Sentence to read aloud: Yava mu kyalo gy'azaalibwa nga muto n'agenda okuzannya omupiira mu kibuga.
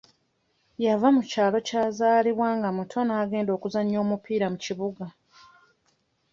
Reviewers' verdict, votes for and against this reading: rejected, 1, 2